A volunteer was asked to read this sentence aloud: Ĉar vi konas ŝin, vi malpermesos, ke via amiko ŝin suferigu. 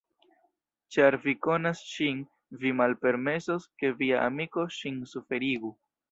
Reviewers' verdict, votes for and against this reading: rejected, 1, 2